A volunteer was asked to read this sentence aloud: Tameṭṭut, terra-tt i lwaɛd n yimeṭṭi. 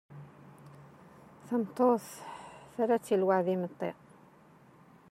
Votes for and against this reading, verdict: 1, 2, rejected